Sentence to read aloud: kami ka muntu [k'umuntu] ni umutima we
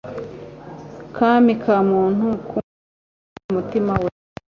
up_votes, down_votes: 1, 2